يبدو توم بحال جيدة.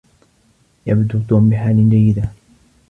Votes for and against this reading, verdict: 2, 0, accepted